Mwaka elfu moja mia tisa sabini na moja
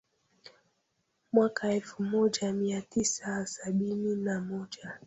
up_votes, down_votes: 0, 2